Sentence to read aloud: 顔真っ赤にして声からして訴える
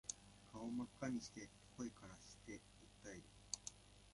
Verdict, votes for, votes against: rejected, 1, 2